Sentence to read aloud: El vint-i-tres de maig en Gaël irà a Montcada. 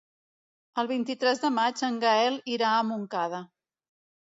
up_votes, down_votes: 2, 0